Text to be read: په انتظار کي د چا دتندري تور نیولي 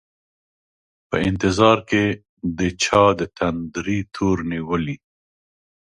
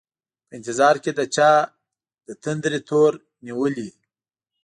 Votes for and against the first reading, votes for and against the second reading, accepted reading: 2, 0, 0, 2, first